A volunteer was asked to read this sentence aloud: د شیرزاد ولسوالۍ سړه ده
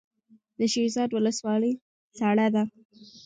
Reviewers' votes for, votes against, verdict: 0, 2, rejected